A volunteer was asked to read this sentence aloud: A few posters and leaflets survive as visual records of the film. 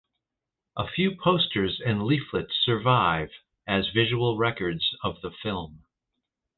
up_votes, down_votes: 2, 0